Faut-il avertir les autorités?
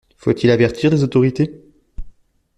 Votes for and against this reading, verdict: 2, 0, accepted